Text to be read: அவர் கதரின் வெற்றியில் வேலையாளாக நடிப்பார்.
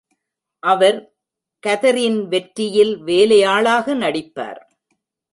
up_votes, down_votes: 1, 2